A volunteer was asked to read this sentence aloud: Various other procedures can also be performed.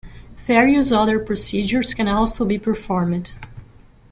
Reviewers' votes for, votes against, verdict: 1, 2, rejected